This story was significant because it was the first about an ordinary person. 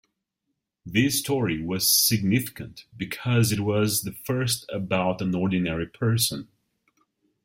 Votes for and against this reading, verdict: 0, 2, rejected